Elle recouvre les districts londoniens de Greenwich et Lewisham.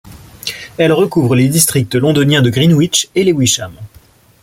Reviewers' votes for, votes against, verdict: 2, 0, accepted